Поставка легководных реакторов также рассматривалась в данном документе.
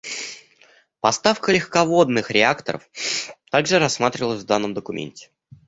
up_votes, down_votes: 0, 2